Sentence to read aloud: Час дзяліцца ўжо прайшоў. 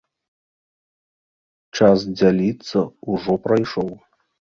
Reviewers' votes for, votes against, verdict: 1, 2, rejected